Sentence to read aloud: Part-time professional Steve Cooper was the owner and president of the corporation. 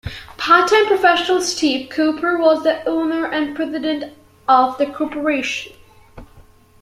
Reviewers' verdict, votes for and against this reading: accepted, 2, 0